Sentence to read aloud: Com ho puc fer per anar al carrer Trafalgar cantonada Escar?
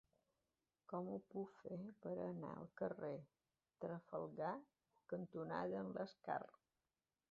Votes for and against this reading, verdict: 1, 2, rejected